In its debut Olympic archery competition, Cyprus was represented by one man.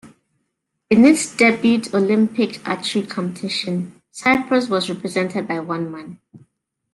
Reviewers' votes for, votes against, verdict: 0, 2, rejected